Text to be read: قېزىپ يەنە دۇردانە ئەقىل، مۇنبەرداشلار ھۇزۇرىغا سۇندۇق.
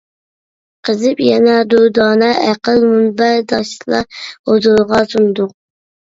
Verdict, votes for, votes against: accepted, 2, 0